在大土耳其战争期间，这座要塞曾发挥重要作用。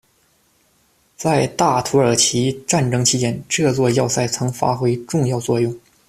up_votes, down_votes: 2, 0